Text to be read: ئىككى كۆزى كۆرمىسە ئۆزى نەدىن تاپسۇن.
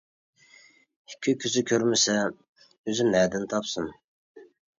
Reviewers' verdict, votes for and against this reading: accepted, 2, 0